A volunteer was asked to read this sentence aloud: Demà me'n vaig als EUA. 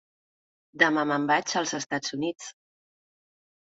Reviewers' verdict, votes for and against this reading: rejected, 1, 2